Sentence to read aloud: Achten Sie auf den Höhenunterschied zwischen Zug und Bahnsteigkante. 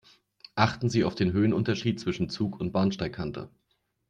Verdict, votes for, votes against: accepted, 2, 0